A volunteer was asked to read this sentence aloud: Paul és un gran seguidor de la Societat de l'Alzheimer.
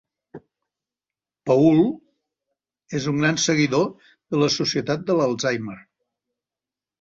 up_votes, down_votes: 2, 0